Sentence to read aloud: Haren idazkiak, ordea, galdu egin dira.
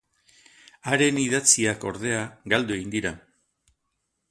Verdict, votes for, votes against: rejected, 0, 2